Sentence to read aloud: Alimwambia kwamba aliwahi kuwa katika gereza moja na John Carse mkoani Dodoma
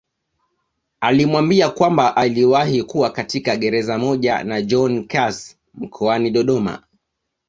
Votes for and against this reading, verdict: 2, 1, accepted